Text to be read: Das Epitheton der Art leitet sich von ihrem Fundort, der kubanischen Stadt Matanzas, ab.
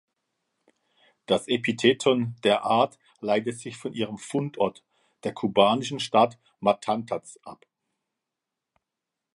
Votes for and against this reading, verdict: 0, 2, rejected